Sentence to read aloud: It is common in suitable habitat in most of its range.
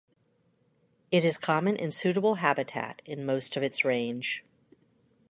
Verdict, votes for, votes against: accepted, 2, 0